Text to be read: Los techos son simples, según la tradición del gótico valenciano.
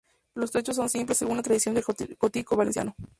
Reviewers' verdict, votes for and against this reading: accepted, 2, 0